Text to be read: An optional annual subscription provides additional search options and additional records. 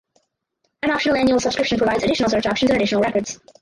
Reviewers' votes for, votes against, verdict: 0, 4, rejected